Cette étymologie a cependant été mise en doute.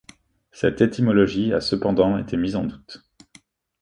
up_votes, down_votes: 2, 0